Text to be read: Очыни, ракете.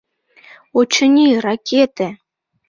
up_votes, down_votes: 2, 0